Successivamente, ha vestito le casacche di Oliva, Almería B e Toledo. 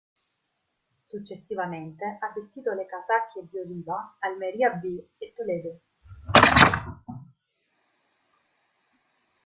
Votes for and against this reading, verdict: 1, 2, rejected